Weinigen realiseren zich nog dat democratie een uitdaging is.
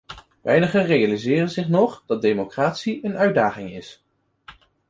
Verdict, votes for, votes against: accepted, 2, 1